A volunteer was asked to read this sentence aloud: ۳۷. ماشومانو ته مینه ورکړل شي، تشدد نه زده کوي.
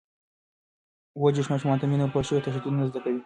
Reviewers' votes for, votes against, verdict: 0, 2, rejected